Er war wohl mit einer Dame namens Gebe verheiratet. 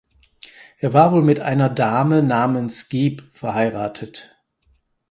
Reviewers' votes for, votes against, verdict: 0, 6, rejected